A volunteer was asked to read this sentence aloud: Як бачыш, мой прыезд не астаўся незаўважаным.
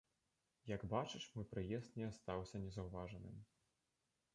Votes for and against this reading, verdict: 1, 2, rejected